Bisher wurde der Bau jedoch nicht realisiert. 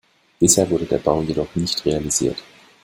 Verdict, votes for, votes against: accepted, 2, 0